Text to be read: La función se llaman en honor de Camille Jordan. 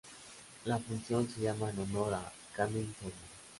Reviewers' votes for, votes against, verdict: 0, 2, rejected